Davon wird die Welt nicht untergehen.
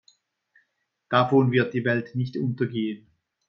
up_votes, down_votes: 2, 1